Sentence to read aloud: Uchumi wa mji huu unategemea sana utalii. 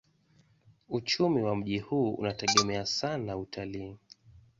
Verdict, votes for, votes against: accepted, 2, 0